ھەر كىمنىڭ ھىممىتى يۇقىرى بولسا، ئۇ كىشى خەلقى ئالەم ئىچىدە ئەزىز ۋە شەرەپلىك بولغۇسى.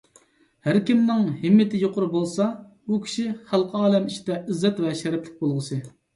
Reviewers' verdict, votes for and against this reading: rejected, 0, 2